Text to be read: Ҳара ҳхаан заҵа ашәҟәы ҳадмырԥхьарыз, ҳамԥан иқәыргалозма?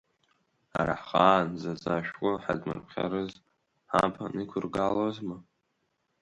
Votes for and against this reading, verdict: 0, 2, rejected